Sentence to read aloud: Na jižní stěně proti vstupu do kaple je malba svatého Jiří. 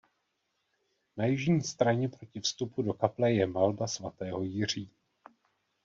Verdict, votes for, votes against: rejected, 0, 2